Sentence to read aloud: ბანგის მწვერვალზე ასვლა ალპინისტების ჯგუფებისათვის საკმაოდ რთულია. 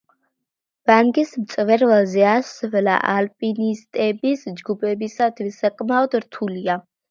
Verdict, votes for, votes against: accepted, 3, 0